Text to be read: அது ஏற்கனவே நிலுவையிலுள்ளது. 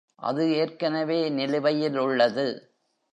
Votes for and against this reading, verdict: 2, 0, accepted